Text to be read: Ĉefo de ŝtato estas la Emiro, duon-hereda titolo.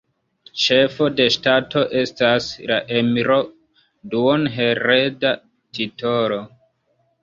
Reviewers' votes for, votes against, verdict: 0, 2, rejected